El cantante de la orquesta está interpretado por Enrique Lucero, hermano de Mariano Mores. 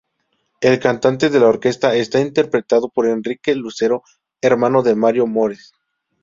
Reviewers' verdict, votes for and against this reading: rejected, 0, 2